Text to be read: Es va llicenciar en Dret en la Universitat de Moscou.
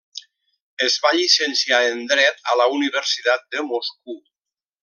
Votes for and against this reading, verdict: 1, 2, rejected